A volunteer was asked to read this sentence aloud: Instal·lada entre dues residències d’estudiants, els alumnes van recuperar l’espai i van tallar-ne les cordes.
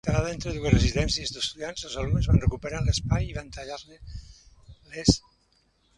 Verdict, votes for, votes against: rejected, 0, 2